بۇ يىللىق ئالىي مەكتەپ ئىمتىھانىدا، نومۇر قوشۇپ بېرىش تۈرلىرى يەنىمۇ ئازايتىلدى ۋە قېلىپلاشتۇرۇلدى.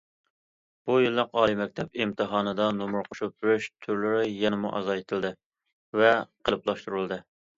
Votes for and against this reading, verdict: 2, 0, accepted